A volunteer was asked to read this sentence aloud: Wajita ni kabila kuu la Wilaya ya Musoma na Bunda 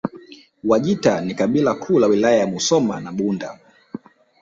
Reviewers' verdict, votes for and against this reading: rejected, 1, 2